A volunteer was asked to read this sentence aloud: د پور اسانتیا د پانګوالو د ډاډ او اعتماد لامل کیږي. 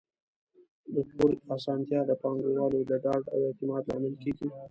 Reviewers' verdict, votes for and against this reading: rejected, 0, 2